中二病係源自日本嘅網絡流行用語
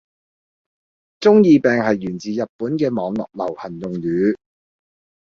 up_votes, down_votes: 2, 0